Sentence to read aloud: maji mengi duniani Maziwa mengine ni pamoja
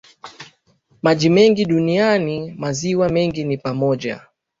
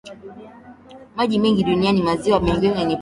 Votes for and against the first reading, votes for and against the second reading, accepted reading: 2, 0, 0, 2, first